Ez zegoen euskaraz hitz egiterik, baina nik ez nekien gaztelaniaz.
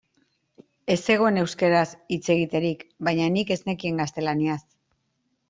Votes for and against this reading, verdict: 2, 0, accepted